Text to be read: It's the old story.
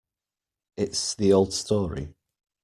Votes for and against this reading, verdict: 2, 0, accepted